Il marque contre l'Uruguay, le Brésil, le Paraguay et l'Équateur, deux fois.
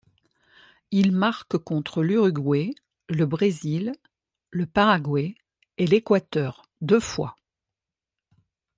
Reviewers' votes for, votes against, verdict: 2, 0, accepted